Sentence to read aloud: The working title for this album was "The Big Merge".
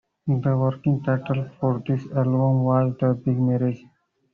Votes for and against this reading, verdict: 1, 2, rejected